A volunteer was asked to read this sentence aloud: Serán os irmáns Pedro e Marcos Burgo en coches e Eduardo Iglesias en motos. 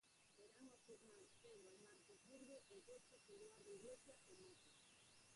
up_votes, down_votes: 0, 4